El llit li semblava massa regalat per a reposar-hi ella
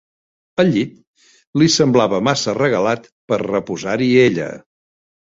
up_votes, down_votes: 0, 2